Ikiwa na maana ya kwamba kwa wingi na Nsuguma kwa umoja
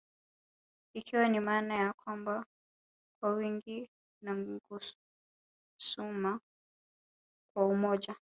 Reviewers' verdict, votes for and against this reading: rejected, 1, 2